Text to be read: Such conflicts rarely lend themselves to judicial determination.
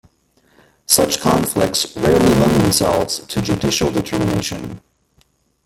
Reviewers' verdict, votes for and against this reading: rejected, 1, 2